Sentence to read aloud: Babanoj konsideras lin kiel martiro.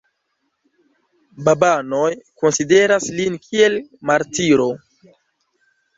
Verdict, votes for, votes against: accepted, 2, 0